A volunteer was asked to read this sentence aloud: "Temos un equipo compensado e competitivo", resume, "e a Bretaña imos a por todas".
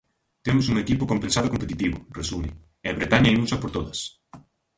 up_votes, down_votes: 0, 2